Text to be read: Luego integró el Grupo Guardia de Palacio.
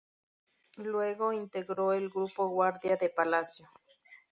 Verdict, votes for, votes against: rejected, 0, 2